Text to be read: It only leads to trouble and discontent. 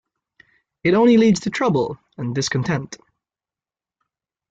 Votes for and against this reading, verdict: 2, 0, accepted